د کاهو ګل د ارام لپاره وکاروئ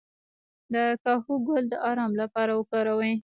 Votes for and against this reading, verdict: 1, 2, rejected